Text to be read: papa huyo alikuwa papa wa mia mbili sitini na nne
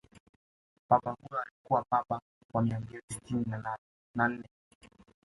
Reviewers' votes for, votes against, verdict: 2, 0, accepted